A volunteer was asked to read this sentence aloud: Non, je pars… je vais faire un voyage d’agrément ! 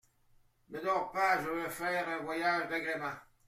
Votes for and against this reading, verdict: 1, 2, rejected